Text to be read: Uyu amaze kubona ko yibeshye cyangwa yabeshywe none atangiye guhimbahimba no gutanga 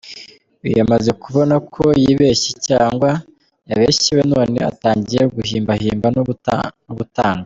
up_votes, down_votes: 0, 2